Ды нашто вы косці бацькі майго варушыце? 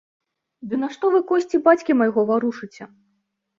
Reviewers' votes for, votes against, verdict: 2, 0, accepted